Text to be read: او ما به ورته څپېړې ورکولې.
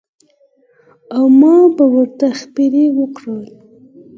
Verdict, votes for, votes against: accepted, 4, 0